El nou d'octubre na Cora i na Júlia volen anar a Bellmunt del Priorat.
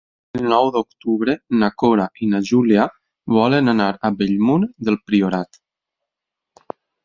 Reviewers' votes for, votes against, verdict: 2, 4, rejected